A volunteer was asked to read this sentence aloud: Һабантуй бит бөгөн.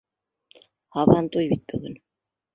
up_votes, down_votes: 0, 2